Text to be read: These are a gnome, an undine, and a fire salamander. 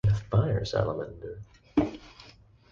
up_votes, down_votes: 0, 2